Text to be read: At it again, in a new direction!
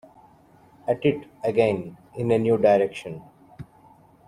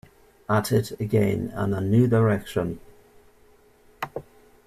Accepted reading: first